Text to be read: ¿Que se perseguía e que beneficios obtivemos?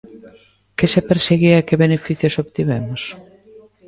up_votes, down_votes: 2, 1